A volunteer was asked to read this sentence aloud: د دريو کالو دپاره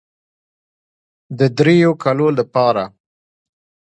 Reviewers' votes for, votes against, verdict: 2, 1, accepted